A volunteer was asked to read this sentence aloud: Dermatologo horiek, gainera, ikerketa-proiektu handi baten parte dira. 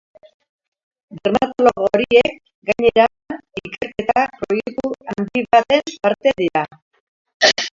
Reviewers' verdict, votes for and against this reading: rejected, 1, 2